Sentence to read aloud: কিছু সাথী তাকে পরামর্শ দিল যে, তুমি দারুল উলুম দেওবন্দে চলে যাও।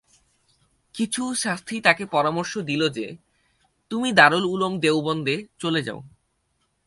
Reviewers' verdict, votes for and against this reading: accepted, 4, 0